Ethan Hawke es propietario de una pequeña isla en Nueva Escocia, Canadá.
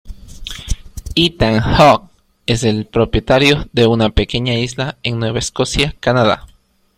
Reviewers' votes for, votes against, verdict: 1, 2, rejected